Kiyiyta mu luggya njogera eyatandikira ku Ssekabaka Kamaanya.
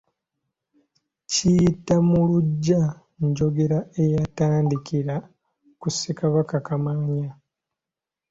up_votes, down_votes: 2, 0